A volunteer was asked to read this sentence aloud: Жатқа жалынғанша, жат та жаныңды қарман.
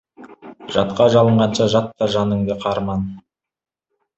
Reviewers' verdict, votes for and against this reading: rejected, 1, 2